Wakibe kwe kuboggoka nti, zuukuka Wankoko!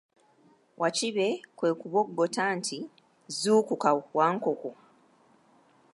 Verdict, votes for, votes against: accepted, 2, 0